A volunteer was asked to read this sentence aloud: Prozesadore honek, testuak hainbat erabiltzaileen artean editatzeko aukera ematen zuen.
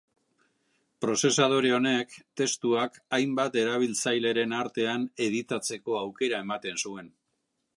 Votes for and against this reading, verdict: 1, 2, rejected